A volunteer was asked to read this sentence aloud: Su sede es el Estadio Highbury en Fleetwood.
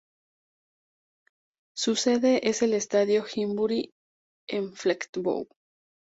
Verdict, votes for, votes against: rejected, 0, 2